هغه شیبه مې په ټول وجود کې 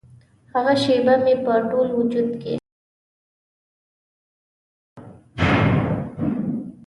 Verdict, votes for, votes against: rejected, 0, 2